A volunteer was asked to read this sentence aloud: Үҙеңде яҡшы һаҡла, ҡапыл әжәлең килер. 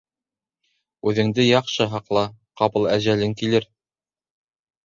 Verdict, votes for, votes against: accepted, 2, 0